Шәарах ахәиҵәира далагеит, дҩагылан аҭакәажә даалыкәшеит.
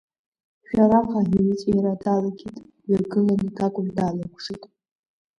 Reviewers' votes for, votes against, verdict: 0, 2, rejected